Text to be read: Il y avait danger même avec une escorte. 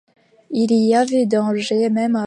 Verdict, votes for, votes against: rejected, 1, 2